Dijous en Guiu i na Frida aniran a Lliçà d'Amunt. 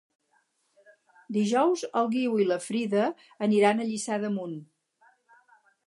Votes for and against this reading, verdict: 2, 2, rejected